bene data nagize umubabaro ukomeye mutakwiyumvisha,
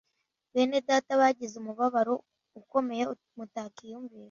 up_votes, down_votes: 0, 2